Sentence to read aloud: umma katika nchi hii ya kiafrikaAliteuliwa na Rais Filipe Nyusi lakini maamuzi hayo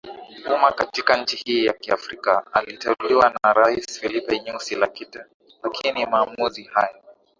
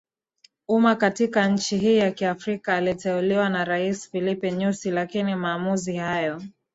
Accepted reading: first